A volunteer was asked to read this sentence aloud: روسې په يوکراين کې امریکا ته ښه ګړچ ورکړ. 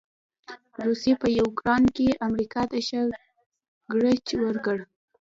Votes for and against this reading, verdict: 1, 2, rejected